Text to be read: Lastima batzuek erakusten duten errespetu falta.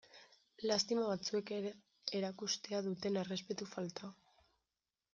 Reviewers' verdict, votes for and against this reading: rejected, 0, 2